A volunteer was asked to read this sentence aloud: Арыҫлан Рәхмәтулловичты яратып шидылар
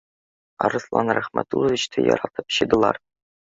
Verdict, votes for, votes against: rejected, 1, 2